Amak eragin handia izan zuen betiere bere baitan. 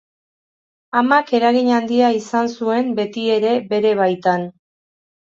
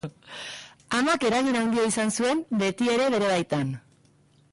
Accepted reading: second